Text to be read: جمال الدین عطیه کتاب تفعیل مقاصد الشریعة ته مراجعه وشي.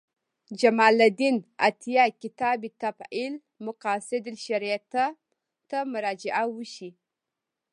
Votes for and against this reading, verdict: 2, 0, accepted